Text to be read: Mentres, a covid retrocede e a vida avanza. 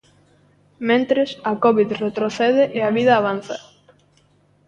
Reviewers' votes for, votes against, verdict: 0, 2, rejected